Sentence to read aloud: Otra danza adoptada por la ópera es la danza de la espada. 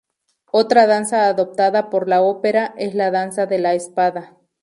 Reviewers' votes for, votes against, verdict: 2, 0, accepted